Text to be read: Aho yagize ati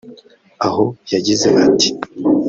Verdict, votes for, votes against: rejected, 0, 2